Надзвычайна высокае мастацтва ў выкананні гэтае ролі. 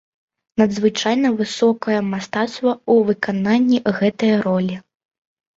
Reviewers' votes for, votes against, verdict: 2, 0, accepted